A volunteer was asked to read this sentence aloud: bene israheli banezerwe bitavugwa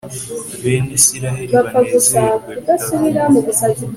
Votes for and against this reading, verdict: 2, 0, accepted